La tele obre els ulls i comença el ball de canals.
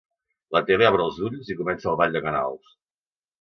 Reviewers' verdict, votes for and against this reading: accepted, 2, 0